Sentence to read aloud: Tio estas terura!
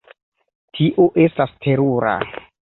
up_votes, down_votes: 2, 0